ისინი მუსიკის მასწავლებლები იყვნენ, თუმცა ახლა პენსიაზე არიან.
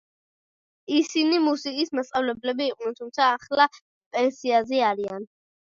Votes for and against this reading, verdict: 2, 0, accepted